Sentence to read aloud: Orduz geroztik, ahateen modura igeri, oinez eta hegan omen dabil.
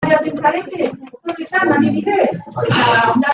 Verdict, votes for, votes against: rejected, 0, 2